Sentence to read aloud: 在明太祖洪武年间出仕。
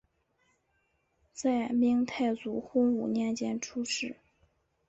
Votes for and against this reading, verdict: 2, 0, accepted